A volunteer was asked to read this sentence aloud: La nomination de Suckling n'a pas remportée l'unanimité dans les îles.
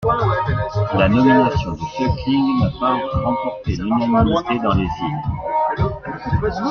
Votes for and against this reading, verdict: 1, 2, rejected